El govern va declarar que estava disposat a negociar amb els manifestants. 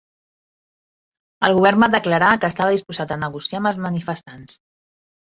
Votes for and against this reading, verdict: 1, 2, rejected